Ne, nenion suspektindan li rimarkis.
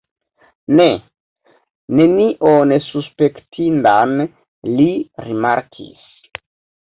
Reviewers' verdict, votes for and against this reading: rejected, 1, 2